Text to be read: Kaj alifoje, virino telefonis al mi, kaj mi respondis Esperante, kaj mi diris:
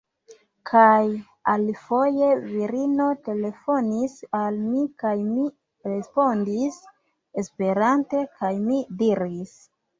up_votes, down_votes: 2, 0